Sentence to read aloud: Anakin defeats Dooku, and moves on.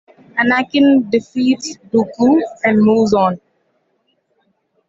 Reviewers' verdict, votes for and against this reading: rejected, 1, 2